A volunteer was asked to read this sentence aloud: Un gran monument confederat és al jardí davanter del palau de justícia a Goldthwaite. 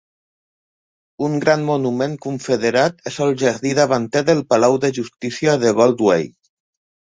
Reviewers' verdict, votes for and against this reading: rejected, 1, 2